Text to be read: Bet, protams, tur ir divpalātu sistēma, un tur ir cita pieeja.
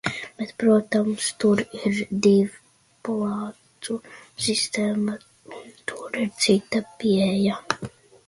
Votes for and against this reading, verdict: 1, 2, rejected